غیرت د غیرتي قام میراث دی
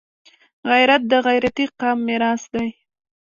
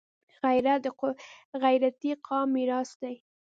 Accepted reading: first